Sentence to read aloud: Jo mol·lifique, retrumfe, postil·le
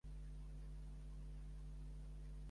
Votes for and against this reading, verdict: 1, 2, rejected